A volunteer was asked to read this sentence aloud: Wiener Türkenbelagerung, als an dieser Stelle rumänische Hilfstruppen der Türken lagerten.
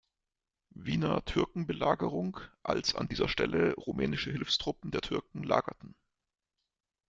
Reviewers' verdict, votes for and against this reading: accepted, 2, 0